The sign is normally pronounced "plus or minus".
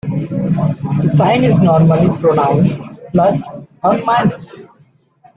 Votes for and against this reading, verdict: 2, 0, accepted